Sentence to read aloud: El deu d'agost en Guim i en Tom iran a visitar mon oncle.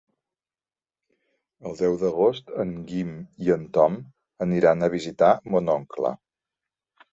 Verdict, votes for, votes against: rejected, 0, 2